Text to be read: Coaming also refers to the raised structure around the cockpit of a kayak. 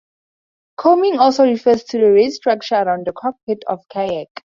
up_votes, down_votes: 2, 0